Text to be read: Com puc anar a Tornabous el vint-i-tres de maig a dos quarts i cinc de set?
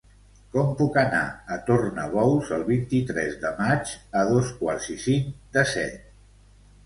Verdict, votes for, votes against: accepted, 2, 0